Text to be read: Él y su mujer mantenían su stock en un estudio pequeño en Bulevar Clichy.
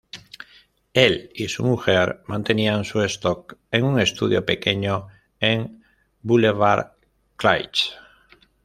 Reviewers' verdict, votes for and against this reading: accepted, 2, 1